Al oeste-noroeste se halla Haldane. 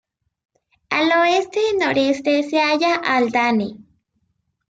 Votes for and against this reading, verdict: 0, 2, rejected